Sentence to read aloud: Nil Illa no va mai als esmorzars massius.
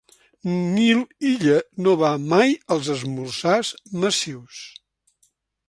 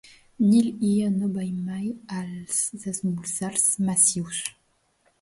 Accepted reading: first